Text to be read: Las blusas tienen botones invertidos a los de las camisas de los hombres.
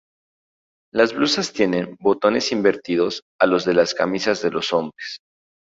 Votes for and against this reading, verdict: 2, 0, accepted